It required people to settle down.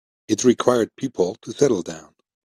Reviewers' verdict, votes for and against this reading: rejected, 1, 2